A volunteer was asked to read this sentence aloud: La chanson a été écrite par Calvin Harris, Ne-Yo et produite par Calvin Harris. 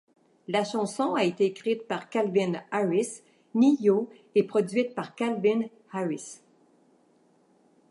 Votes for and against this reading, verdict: 3, 0, accepted